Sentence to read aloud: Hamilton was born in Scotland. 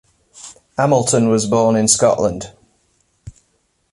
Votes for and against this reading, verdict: 1, 2, rejected